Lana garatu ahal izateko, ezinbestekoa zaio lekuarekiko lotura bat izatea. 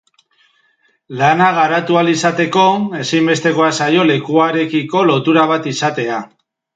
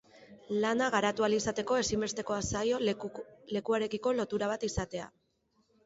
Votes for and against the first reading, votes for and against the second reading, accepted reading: 2, 0, 1, 2, first